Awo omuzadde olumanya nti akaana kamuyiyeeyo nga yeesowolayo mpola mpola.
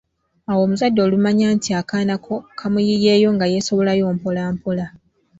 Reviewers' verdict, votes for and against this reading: accepted, 2, 1